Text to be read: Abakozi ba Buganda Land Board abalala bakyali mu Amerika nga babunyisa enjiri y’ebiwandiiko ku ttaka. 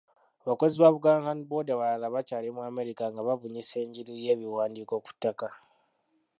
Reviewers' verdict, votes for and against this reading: rejected, 0, 2